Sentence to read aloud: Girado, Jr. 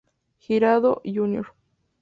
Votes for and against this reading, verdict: 0, 2, rejected